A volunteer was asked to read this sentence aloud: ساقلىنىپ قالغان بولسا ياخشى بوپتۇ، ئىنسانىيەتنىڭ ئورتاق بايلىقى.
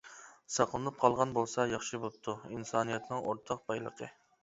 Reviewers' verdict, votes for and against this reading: accepted, 2, 0